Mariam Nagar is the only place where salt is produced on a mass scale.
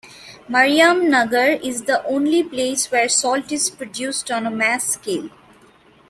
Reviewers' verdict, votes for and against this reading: rejected, 0, 2